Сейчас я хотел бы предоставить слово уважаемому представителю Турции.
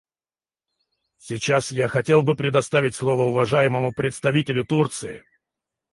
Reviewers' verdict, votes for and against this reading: rejected, 2, 4